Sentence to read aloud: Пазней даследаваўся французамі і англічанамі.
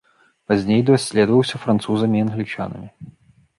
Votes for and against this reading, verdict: 1, 2, rejected